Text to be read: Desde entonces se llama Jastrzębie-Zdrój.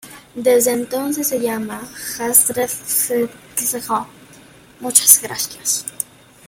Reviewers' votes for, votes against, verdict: 0, 2, rejected